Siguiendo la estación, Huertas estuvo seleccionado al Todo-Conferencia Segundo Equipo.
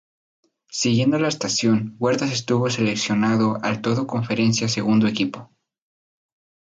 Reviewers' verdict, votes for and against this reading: accepted, 6, 0